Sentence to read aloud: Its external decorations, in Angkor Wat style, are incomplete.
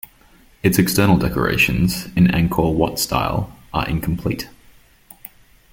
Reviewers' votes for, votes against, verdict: 2, 0, accepted